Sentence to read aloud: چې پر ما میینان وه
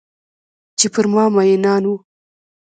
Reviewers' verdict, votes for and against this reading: accepted, 2, 0